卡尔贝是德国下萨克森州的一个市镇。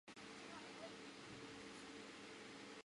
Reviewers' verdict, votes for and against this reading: rejected, 0, 4